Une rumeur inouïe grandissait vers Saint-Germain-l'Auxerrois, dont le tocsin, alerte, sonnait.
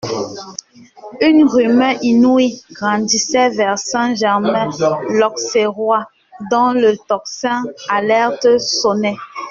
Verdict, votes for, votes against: rejected, 0, 2